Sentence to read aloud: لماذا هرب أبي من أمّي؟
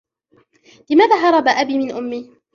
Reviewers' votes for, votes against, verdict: 1, 2, rejected